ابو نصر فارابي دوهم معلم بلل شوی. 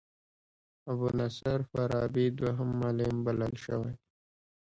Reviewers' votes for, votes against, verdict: 2, 1, accepted